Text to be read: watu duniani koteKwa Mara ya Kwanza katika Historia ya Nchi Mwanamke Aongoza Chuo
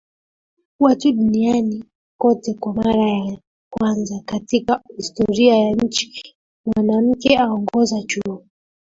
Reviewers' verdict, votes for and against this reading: rejected, 1, 2